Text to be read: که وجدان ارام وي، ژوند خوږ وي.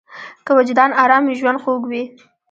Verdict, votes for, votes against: accepted, 2, 1